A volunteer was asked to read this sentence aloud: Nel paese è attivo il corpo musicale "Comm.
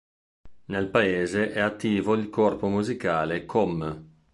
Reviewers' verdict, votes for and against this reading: accepted, 2, 0